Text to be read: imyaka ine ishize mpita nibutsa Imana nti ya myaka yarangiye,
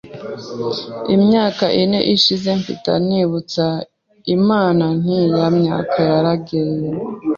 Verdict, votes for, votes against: rejected, 0, 2